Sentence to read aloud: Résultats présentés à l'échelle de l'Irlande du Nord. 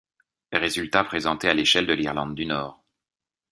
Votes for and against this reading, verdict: 2, 0, accepted